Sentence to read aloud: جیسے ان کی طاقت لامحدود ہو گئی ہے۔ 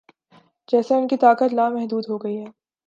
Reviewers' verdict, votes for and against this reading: accepted, 3, 0